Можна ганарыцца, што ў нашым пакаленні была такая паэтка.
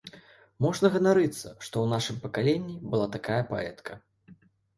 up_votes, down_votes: 2, 0